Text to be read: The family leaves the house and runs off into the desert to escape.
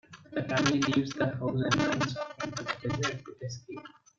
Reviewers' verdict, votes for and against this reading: rejected, 1, 2